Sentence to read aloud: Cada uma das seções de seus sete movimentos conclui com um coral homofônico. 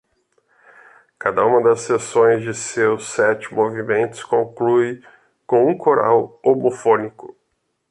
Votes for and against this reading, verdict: 2, 0, accepted